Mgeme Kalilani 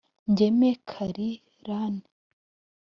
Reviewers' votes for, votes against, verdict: 2, 3, rejected